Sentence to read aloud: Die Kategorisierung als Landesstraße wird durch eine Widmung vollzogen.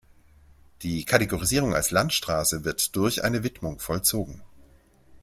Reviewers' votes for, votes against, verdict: 0, 2, rejected